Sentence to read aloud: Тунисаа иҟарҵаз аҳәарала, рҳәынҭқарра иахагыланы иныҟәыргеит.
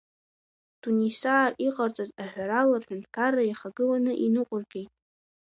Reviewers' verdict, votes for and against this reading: accepted, 2, 1